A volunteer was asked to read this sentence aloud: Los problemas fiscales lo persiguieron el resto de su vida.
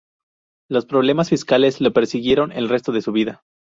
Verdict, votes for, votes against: rejected, 0, 2